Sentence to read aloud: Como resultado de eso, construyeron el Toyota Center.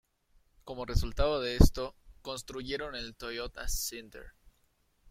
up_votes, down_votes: 0, 2